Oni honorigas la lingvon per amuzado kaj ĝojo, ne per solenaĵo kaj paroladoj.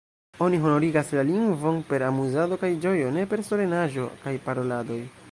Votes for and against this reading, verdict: 2, 0, accepted